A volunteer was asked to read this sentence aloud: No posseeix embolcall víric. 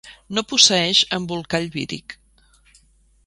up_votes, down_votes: 2, 0